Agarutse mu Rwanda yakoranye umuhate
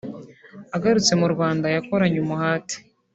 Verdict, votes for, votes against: accepted, 2, 0